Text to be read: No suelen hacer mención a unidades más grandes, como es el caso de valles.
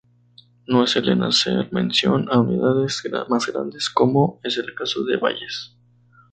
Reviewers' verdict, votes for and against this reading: accepted, 2, 0